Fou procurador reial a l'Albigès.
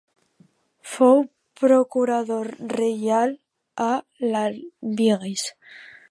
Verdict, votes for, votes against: rejected, 0, 2